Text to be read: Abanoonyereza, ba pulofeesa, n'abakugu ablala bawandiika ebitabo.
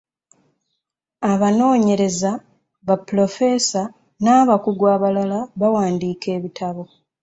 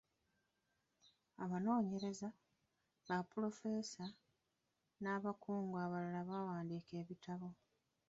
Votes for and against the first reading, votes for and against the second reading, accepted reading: 2, 0, 1, 2, first